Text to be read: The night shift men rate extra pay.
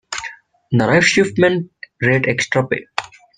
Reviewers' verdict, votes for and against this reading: rejected, 1, 2